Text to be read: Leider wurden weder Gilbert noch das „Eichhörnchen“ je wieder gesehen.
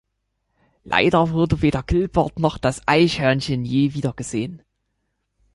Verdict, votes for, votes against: rejected, 1, 2